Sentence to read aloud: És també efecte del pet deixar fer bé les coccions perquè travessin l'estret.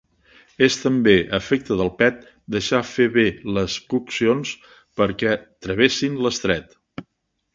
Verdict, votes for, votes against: accepted, 2, 0